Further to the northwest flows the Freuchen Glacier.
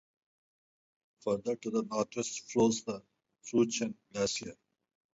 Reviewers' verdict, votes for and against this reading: rejected, 2, 2